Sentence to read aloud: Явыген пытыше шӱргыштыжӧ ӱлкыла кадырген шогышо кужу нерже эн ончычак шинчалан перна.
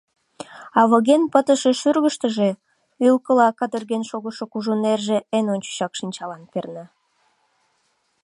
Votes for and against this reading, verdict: 1, 2, rejected